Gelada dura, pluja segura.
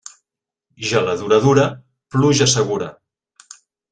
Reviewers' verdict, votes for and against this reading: rejected, 0, 2